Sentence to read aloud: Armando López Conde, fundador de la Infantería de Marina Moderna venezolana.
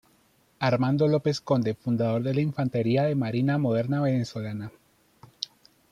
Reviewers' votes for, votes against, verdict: 2, 0, accepted